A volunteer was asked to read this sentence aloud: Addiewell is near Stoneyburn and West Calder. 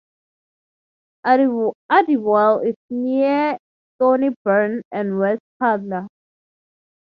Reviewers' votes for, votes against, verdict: 0, 3, rejected